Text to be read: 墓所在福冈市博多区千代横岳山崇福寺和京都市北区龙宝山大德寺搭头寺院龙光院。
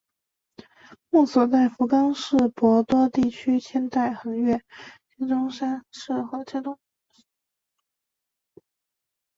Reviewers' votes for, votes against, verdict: 1, 2, rejected